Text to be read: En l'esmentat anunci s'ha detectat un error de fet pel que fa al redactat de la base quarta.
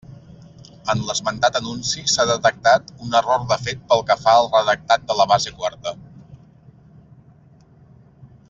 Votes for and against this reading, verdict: 3, 1, accepted